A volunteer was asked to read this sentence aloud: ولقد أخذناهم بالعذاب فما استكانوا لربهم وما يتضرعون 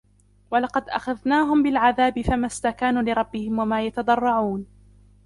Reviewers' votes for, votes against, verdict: 2, 0, accepted